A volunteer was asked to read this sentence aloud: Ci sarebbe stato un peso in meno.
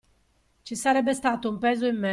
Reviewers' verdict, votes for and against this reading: rejected, 1, 2